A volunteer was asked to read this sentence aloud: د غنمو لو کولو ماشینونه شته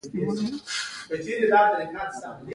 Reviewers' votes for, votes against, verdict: 1, 2, rejected